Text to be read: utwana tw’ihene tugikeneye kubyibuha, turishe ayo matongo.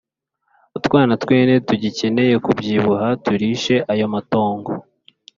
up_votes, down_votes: 2, 0